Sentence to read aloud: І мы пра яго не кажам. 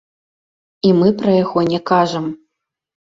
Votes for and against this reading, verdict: 2, 0, accepted